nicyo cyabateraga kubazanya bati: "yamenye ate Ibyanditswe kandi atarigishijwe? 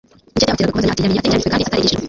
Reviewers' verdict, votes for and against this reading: accepted, 2, 1